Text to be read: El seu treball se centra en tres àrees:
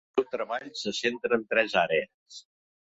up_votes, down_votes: 1, 2